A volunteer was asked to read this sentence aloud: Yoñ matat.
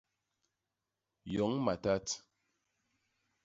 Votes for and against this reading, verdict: 2, 0, accepted